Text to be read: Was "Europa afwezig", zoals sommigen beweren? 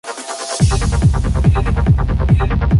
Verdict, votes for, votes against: rejected, 0, 2